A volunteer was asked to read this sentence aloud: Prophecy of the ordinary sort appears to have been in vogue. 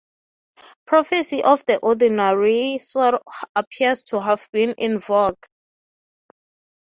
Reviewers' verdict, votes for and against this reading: accepted, 3, 0